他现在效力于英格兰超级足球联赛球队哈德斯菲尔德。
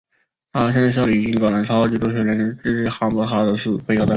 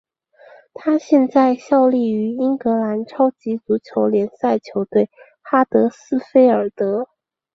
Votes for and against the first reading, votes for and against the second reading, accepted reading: 1, 2, 4, 0, second